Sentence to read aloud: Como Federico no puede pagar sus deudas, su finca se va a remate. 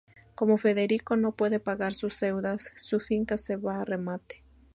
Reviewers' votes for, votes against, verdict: 2, 0, accepted